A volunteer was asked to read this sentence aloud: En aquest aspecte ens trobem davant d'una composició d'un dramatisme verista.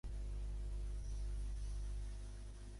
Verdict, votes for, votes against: rejected, 0, 2